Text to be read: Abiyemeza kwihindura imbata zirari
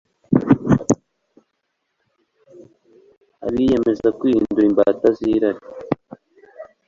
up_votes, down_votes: 2, 0